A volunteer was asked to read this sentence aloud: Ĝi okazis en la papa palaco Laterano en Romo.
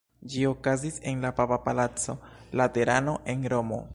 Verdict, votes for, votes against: accepted, 2, 1